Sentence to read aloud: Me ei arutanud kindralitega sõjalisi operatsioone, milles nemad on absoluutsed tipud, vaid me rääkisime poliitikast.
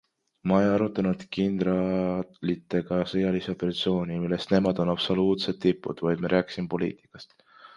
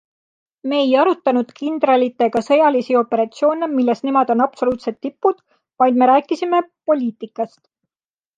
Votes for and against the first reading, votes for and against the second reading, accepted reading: 0, 2, 2, 0, second